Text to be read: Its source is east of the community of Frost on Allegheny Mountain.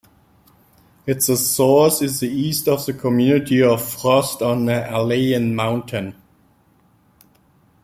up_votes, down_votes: 1, 2